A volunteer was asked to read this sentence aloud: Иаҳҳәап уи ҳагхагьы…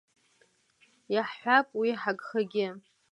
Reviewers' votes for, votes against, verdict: 2, 0, accepted